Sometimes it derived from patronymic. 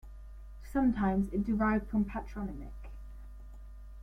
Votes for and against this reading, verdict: 2, 1, accepted